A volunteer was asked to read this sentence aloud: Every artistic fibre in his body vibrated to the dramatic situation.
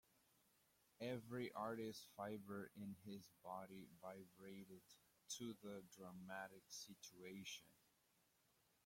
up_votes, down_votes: 0, 2